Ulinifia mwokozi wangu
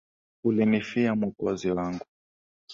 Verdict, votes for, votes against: accepted, 2, 0